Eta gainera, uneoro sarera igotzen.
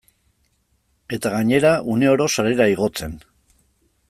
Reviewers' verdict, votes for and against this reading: accepted, 2, 0